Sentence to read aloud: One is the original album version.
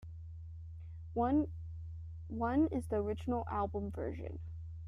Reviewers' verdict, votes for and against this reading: rejected, 0, 2